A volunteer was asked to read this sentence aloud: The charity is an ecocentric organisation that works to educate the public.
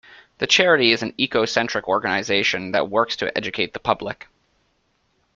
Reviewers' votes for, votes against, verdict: 2, 0, accepted